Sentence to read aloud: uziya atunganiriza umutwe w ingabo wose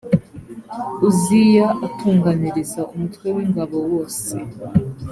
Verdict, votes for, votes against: accepted, 2, 0